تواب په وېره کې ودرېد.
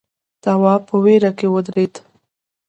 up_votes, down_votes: 2, 0